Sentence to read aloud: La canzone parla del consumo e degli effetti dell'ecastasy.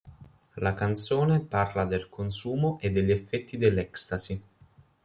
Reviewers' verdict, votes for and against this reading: rejected, 1, 2